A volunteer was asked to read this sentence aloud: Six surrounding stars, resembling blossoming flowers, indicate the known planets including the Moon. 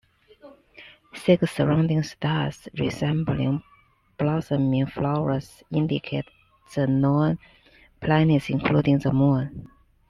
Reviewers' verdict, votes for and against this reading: accepted, 2, 0